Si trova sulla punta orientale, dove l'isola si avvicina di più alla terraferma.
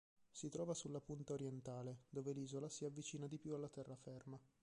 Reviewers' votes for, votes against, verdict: 2, 1, accepted